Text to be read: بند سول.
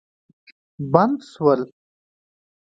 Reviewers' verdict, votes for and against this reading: accepted, 2, 0